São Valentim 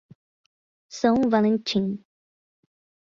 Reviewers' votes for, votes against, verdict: 10, 0, accepted